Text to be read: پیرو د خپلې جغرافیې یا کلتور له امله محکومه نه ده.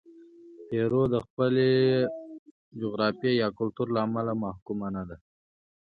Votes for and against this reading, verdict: 2, 1, accepted